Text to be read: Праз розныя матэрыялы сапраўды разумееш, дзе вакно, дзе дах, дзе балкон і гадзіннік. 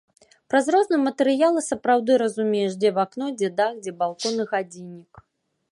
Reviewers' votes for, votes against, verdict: 1, 2, rejected